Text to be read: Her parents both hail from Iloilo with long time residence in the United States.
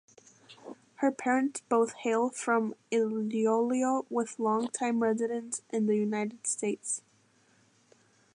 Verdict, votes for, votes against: rejected, 1, 2